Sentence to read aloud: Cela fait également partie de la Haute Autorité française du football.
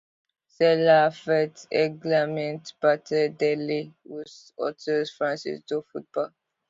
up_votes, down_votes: 1, 2